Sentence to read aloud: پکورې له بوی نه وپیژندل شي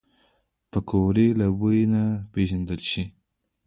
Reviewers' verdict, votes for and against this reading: rejected, 1, 2